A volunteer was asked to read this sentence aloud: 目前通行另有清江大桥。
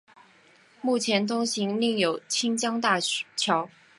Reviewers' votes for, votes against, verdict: 3, 0, accepted